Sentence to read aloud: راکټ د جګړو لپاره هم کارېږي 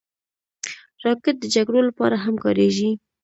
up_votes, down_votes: 2, 1